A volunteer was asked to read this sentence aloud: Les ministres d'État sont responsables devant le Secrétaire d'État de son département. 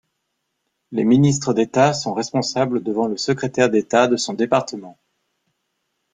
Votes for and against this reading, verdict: 2, 0, accepted